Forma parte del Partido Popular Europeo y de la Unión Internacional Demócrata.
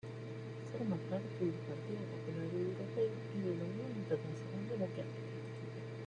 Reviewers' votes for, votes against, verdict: 1, 2, rejected